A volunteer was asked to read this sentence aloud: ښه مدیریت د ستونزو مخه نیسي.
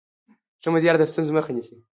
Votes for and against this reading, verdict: 1, 2, rejected